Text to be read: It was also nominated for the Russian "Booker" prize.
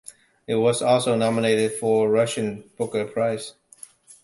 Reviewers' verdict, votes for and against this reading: accepted, 2, 0